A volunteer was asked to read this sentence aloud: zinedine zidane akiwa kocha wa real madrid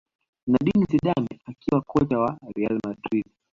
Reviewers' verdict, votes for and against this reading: rejected, 0, 2